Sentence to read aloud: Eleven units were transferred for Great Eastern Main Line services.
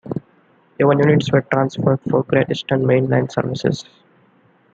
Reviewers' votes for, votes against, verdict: 1, 2, rejected